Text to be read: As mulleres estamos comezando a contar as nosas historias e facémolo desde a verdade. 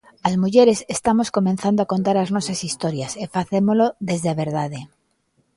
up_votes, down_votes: 0, 2